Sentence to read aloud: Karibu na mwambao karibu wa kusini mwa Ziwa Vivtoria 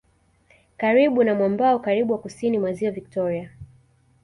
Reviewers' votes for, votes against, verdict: 2, 0, accepted